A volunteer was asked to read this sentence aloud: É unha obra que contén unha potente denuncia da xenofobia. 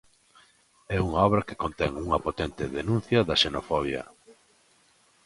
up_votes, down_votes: 2, 0